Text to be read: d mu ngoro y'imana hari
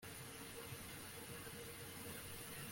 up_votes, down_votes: 0, 2